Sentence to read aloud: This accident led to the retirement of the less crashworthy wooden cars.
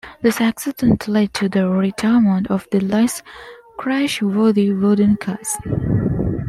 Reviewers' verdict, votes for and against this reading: accepted, 2, 1